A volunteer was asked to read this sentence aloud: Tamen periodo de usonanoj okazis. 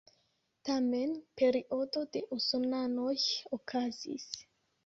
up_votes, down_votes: 1, 2